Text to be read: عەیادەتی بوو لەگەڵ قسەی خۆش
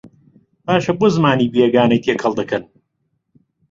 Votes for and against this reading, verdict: 0, 2, rejected